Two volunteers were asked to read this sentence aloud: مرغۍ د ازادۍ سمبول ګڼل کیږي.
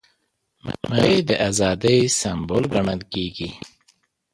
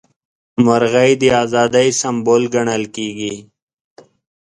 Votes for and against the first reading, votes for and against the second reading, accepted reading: 0, 2, 2, 0, second